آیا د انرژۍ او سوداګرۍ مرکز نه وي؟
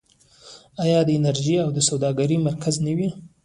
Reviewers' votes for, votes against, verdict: 0, 2, rejected